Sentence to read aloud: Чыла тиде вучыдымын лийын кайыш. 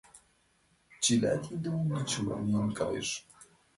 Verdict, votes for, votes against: rejected, 2, 3